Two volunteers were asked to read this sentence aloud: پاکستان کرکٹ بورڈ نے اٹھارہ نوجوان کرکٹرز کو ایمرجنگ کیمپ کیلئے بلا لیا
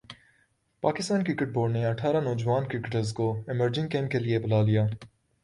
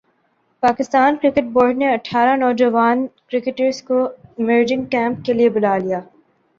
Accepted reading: first